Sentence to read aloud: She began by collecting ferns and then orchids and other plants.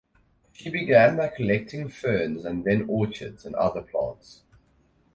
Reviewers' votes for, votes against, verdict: 4, 2, accepted